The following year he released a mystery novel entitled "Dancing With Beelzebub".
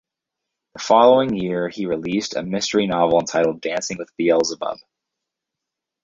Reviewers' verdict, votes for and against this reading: rejected, 2, 2